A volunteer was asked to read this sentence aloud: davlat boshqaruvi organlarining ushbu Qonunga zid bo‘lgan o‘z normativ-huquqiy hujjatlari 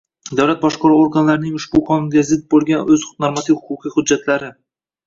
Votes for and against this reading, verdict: 0, 2, rejected